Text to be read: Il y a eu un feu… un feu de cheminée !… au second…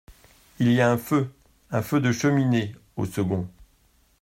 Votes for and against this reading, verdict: 1, 2, rejected